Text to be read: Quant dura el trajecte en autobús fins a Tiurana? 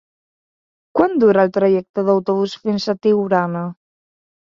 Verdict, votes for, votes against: accepted, 3, 2